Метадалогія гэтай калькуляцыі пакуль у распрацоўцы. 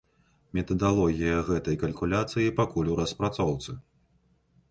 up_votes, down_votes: 2, 0